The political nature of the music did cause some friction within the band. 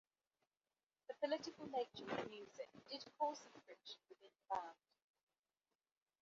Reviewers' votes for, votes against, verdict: 0, 3, rejected